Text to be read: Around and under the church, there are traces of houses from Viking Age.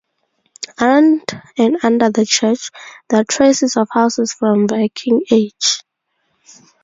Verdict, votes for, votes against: accepted, 4, 2